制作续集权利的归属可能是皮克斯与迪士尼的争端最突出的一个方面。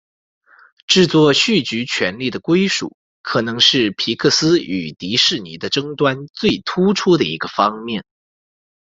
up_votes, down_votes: 2, 1